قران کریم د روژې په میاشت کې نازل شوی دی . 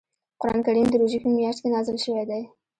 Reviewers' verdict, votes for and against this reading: accepted, 2, 1